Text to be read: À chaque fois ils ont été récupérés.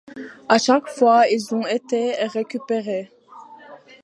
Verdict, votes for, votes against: accepted, 2, 0